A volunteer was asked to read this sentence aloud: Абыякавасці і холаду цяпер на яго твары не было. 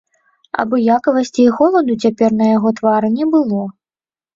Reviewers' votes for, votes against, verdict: 2, 0, accepted